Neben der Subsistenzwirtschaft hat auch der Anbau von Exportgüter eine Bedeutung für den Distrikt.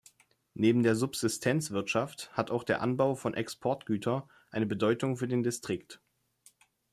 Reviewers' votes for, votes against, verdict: 2, 1, accepted